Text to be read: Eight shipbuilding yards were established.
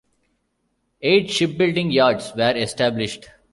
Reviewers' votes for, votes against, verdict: 2, 0, accepted